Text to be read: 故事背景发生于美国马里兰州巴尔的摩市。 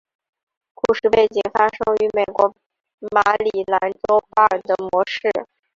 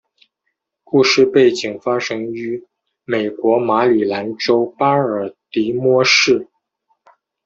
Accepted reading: second